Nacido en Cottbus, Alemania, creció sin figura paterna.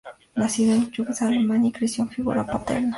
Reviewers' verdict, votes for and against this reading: rejected, 0, 4